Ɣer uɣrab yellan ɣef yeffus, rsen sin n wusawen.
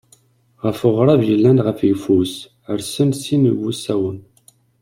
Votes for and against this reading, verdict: 1, 2, rejected